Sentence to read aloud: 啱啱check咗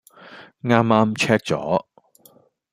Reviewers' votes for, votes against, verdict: 2, 0, accepted